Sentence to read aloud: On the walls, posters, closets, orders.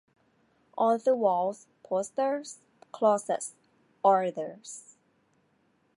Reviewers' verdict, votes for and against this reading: accepted, 2, 0